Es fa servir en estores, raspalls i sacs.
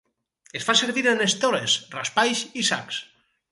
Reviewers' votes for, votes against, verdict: 0, 4, rejected